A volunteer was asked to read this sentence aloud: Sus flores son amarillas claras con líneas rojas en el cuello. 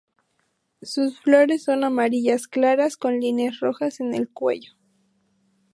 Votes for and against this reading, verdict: 2, 0, accepted